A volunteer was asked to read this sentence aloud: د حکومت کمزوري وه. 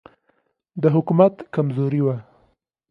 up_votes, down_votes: 2, 0